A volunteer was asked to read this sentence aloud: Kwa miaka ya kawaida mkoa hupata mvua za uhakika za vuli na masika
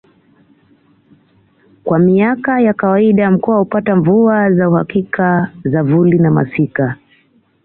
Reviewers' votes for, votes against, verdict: 2, 0, accepted